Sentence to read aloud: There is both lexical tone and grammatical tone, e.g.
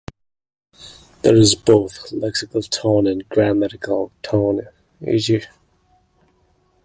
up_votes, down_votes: 1, 2